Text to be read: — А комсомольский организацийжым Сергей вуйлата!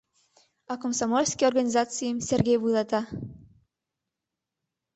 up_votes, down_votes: 1, 2